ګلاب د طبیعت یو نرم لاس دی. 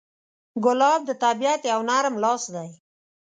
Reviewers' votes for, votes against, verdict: 2, 0, accepted